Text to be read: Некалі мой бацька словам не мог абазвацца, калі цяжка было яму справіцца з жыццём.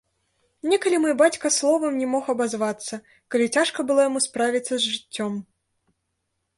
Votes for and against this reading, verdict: 0, 2, rejected